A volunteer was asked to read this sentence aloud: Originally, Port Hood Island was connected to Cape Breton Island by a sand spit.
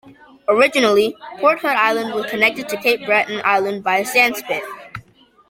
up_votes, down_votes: 0, 2